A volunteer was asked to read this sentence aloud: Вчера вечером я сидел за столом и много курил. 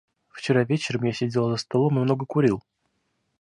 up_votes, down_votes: 2, 0